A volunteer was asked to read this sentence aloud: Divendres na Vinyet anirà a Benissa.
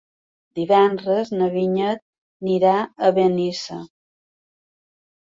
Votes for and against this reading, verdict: 1, 2, rejected